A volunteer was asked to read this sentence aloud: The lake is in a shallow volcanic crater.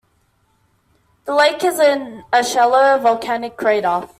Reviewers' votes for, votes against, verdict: 1, 2, rejected